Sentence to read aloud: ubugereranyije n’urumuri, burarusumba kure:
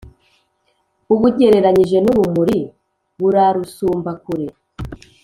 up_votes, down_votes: 2, 0